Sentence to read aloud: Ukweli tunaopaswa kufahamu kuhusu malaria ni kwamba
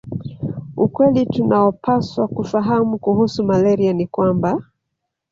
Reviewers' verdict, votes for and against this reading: accepted, 2, 0